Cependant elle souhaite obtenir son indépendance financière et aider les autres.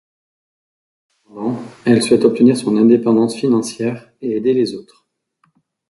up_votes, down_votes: 0, 2